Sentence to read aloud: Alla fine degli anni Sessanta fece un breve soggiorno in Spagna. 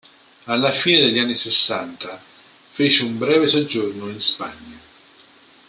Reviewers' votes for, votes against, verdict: 2, 0, accepted